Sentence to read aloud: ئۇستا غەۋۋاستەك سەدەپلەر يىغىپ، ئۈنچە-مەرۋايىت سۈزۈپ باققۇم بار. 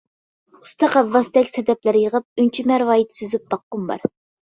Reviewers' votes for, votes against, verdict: 2, 0, accepted